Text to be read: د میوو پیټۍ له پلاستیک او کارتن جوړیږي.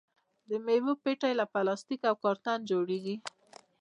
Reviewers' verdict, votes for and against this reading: rejected, 0, 2